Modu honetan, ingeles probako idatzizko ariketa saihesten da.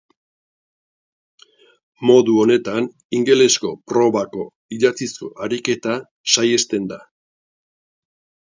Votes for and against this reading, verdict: 4, 1, accepted